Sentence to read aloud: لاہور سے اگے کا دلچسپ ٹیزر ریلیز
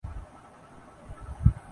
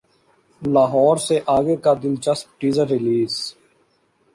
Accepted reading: second